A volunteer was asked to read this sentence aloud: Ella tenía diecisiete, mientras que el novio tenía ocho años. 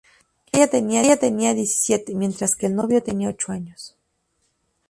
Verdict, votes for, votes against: rejected, 0, 2